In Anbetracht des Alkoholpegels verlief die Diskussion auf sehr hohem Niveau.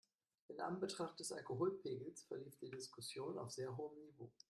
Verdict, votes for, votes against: accepted, 2, 0